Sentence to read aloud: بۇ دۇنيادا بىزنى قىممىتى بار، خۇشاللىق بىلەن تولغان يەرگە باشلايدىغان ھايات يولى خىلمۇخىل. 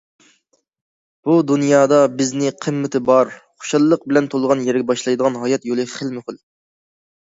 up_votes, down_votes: 2, 0